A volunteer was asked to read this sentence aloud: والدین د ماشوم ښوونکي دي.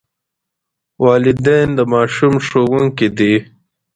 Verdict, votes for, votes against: accepted, 2, 0